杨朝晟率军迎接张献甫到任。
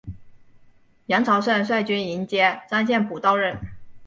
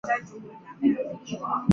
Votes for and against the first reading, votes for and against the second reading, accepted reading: 2, 0, 0, 2, first